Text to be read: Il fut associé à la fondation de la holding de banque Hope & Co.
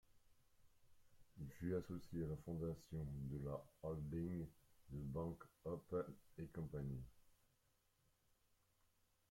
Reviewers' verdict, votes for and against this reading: rejected, 1, 2